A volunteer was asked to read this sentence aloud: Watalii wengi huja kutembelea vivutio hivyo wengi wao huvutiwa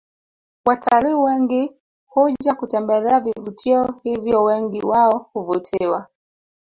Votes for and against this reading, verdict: 1, 2, rejected